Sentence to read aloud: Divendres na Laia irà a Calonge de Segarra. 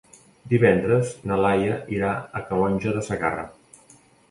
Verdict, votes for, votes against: accepted, 2, 0